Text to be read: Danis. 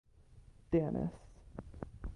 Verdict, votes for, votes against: accepted, 2, 0